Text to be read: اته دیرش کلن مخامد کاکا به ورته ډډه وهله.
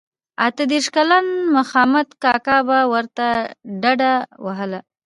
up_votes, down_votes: 0, 2